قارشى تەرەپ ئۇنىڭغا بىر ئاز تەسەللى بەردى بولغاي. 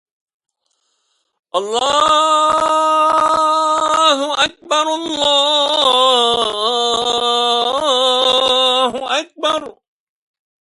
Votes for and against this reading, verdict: 0, 2, rejected